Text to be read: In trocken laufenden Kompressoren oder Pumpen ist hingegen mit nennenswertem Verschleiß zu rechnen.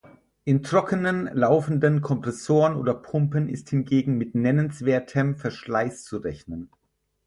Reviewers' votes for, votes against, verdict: 0, 4, rejected